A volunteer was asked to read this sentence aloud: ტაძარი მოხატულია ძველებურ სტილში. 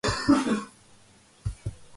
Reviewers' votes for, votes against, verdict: 1, 2, rejected